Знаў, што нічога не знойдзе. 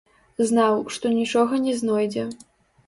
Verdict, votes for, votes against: rejected, 0, 2